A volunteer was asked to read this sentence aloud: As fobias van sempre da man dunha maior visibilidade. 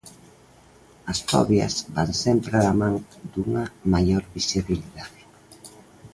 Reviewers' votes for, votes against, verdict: 2, 0, accepted